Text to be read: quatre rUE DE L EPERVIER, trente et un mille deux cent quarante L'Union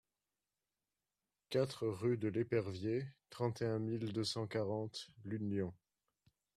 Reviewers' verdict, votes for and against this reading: accepted, 2, 0